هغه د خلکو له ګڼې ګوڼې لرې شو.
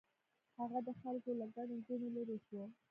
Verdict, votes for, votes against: rejected, 0, 2